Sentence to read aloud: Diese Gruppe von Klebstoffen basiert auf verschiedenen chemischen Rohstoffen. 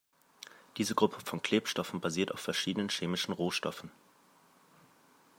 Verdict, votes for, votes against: accepted, 2, 0